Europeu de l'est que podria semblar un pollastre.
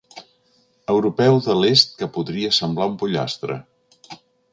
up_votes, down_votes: 3, 0